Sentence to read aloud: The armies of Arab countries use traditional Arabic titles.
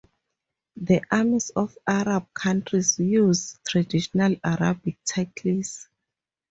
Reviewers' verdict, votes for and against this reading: rejected, 6, 8